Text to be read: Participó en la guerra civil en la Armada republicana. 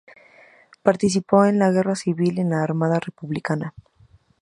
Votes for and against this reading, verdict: 2, 0, accepted